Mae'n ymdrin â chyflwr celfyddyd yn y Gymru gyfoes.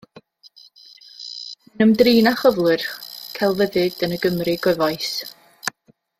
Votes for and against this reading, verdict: 1, 2, rejected